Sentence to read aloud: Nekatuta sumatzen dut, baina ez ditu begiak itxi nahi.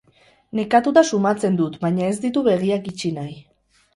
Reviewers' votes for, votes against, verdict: 2, 0, accepted